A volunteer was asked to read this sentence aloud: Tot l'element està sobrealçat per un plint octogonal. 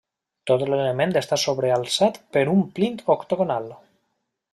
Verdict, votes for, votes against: rejected, 1, 2